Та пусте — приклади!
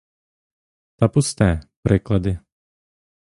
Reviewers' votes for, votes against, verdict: 1, 2, rejected